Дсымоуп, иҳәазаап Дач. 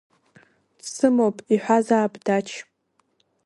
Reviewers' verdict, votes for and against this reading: accepted, 3, 1